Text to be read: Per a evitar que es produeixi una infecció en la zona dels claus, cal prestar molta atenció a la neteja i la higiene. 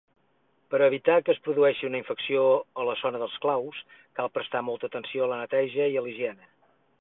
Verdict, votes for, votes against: rejected, 0, 4